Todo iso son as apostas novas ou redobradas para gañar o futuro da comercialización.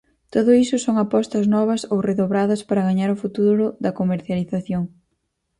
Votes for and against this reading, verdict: 0, 4, rejected